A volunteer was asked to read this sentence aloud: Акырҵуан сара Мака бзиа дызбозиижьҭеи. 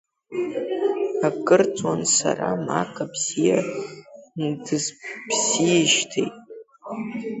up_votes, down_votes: 0, 2